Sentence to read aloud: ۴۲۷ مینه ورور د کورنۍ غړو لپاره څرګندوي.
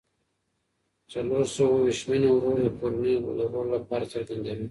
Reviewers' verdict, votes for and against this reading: rejected, 0, 2